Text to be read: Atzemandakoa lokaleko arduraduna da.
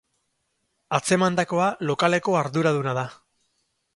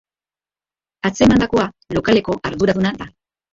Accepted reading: first